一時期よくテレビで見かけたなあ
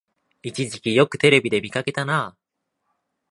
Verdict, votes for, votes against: accepted, 2, 0